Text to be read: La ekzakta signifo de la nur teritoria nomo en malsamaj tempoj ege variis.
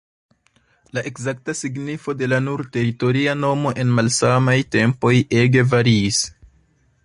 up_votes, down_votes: 2, 1